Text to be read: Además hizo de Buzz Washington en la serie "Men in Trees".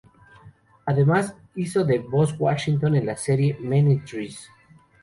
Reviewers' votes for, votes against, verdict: 2, 0, accepted